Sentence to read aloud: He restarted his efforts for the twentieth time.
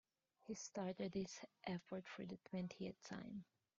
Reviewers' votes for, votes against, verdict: 1, 2, rejected